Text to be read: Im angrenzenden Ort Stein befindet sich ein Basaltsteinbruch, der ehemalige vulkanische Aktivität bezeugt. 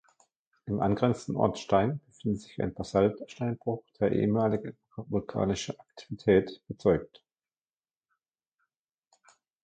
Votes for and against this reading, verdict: 1, 2, rejected